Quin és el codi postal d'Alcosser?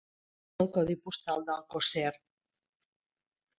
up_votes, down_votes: 0, 2